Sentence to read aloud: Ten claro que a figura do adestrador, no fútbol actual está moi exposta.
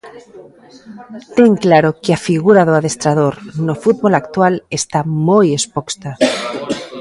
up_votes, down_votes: 2, 0